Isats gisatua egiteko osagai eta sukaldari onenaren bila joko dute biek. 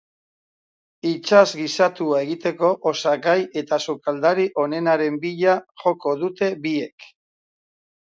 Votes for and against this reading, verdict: 0, 2, rejected